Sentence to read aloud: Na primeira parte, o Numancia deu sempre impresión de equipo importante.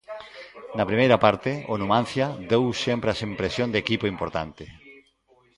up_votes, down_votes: 0, 2